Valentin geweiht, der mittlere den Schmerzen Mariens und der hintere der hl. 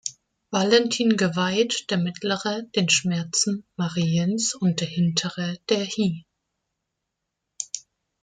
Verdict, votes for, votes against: rejected, 0, 2